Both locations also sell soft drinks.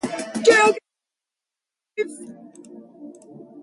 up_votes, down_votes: 0, 2